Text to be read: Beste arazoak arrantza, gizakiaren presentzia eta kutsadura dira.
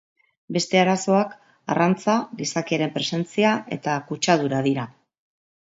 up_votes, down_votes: 2, 0